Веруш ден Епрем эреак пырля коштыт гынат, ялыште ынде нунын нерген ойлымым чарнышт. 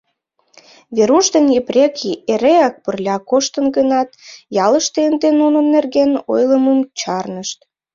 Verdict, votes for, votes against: rejected, 1, 2